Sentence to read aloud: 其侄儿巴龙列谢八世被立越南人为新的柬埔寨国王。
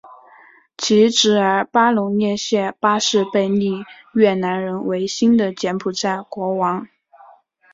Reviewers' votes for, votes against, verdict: 0, 2, rejected